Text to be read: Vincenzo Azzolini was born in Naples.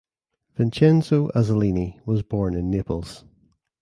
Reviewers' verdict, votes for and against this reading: accepted, 2, 0